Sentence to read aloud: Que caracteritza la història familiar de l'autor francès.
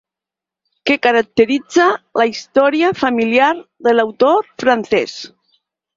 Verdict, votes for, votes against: rejected, 0, 4